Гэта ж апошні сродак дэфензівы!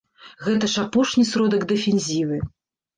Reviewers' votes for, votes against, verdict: 2, 0, accepted